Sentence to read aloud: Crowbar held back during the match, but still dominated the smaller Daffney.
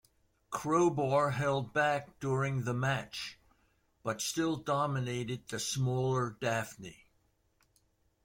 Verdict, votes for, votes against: accepted, 2, 0